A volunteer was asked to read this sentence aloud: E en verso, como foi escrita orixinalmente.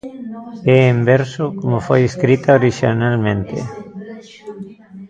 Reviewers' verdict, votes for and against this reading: rejected, 1, 2